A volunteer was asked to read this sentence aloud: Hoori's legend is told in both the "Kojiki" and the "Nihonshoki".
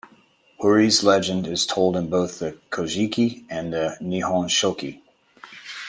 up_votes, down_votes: 2, 0